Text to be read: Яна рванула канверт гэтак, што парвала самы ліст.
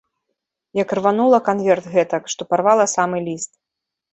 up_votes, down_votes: 1, 2